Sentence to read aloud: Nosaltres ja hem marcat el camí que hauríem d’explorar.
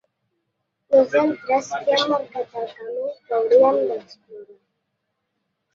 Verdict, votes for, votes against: rejected, 1, 2